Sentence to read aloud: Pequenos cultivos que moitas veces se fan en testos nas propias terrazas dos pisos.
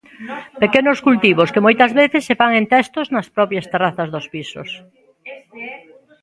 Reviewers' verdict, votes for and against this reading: rejected, 1, 2